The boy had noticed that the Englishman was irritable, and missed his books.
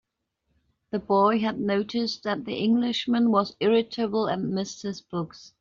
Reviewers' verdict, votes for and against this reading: accepted, 3, 0